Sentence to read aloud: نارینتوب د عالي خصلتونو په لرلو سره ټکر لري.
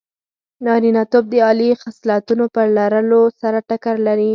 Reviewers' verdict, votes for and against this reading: accepted, 4, 0